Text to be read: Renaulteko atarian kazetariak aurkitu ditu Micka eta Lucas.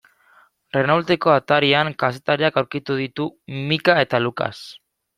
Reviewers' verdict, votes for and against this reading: accepted, 2, 0